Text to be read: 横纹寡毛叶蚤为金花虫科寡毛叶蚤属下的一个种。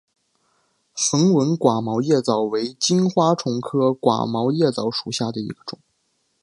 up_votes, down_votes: 2, 0